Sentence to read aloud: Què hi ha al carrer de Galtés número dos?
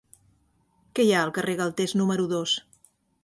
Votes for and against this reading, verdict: 0, 5, rejected